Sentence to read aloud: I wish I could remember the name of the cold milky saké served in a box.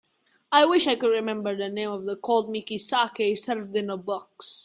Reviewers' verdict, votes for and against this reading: accepted, 3, 0